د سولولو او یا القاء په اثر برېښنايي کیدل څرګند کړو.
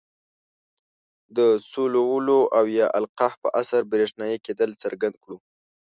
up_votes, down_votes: 2, 0